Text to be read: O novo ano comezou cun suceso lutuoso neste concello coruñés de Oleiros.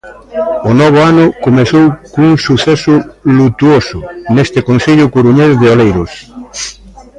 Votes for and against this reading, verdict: 2, 1, accepted